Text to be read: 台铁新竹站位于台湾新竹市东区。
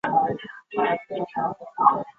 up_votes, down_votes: 1, 2